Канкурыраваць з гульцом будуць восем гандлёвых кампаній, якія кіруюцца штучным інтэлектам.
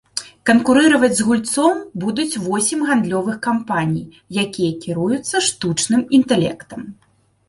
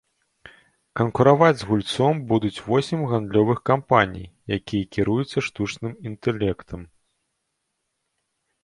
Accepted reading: first